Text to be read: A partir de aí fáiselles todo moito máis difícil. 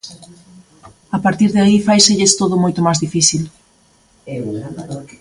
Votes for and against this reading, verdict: 2, 0, accepted